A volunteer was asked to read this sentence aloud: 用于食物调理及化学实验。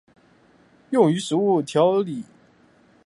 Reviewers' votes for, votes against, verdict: 1, 2, rejected